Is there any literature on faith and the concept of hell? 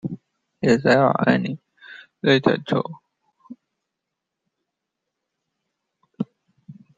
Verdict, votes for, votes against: rejected, 1, 2